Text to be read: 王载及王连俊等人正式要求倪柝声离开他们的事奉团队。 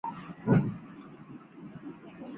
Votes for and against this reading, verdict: 1, 2, rejected